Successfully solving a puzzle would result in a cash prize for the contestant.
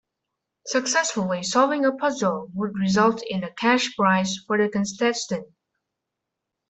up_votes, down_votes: 1, 2